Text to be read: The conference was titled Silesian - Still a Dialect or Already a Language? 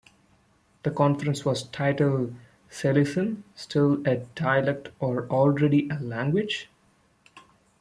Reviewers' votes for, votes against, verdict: 0, 2, rejected